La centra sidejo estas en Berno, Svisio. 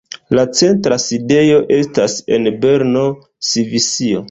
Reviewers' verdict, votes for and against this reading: accepted, 2, 1